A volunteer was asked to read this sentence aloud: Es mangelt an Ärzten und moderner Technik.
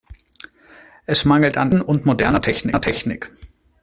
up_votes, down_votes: 0, 2